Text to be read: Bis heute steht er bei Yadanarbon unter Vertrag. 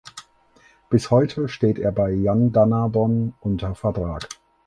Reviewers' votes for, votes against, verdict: 2, 4, rejected